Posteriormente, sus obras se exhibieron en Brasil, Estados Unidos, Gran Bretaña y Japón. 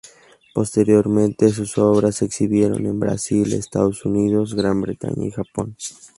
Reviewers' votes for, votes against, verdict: 2, 0, accepted